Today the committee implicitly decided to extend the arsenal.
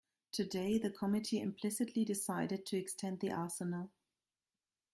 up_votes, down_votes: 2, 1